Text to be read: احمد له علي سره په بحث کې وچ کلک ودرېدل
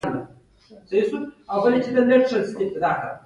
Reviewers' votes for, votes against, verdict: 1, 2, rejected